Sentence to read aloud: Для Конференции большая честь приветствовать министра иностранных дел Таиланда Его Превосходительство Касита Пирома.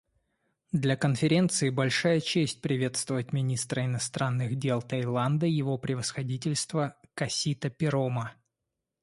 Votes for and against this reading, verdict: 2, 0, accepted